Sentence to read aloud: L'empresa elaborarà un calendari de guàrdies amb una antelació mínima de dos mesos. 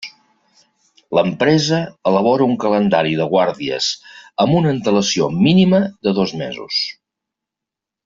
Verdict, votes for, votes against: rejected, 0, 2